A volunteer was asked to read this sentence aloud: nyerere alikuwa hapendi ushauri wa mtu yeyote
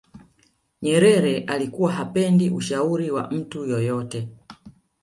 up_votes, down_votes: 0, 2